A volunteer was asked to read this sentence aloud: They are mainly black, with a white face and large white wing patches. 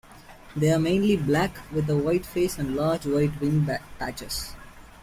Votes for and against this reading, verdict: 1, 2, rejected